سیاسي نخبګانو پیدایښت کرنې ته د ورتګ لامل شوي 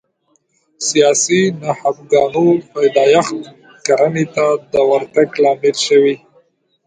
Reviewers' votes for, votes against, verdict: 1, 2, rejected